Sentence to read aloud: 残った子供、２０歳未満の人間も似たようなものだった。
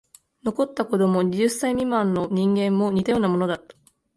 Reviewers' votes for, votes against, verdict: 0, 2, rejected